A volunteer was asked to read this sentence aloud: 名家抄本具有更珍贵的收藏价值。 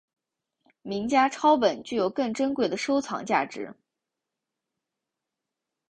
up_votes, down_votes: 3, 0